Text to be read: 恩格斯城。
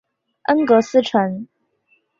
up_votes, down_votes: 2, 0